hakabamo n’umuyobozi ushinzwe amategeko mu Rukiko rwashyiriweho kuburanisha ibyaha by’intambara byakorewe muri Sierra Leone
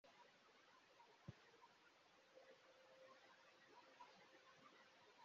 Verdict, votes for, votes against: rejected, 0, 3